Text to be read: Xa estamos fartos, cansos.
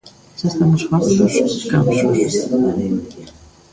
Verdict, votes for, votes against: rejected, 0, 2